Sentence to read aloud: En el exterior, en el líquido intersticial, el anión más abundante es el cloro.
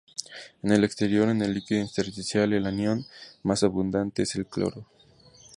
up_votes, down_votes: 2, 0